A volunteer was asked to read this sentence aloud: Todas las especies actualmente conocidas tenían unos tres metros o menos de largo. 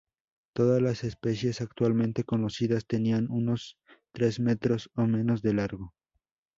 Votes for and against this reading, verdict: 2, 0, accepted